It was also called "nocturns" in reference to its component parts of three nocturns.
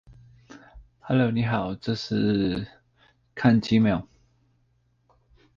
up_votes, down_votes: 0, 2